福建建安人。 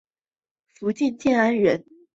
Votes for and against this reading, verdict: 2, 0, accepted